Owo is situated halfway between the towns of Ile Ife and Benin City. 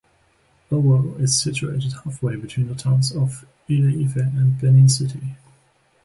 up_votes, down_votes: 3, 0